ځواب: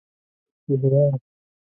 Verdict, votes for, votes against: rejected, 0, 2